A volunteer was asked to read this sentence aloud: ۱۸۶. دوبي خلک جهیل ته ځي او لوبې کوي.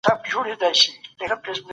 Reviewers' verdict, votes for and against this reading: rejected, 0, 2